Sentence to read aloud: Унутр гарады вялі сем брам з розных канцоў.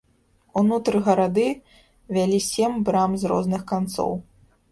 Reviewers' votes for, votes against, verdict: 0, 2, rejected